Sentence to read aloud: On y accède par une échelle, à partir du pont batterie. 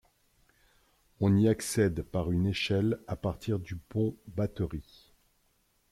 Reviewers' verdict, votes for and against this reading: accepted, 2, 0